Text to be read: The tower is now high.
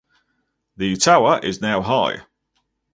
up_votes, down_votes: 4, 0